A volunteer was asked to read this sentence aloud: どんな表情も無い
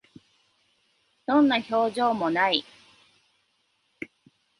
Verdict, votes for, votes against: rejected, 0, 2